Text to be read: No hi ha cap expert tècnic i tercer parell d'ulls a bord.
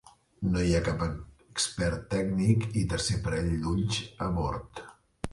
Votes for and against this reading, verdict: 1, 2, rejected